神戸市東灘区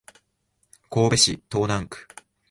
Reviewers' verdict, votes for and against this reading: rejected, 1, 2